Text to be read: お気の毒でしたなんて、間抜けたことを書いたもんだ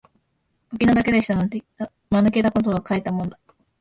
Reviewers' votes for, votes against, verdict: 2, 0, accepted